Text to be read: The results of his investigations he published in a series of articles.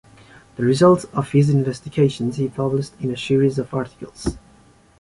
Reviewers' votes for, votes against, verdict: 2, 0, accepted